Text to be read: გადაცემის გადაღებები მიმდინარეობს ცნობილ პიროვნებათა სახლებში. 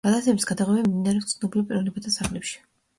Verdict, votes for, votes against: accepted, 2, 0